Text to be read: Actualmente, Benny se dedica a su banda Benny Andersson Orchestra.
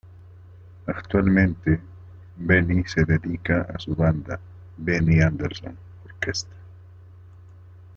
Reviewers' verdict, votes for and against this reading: rejected, 0, 2